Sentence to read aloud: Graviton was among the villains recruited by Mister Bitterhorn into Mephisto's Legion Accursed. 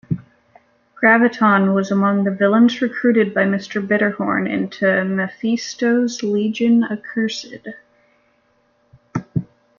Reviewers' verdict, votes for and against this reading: accepted, 2, 1